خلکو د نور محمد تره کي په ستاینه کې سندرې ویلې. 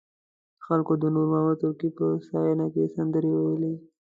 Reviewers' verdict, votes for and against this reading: rejected, 1, 2